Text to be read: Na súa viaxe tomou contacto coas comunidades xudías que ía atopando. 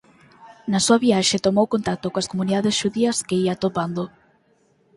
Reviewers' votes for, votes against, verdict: 4, 0, accepted